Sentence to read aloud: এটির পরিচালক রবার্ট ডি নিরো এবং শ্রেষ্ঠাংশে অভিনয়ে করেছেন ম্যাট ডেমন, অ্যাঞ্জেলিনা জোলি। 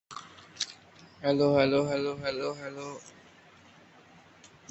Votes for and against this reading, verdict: 0, 13, rejected